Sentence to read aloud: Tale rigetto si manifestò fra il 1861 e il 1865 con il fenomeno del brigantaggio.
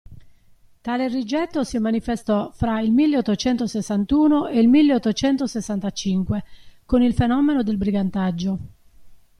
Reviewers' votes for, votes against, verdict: 0, 2, rejected